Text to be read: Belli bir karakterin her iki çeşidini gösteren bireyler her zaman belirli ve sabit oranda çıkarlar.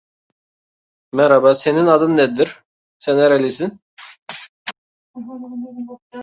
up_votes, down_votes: 0, 2